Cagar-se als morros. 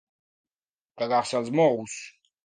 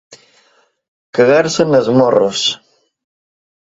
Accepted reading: first